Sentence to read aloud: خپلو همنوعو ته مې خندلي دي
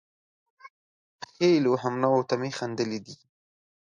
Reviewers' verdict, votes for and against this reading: rejected, 0, 2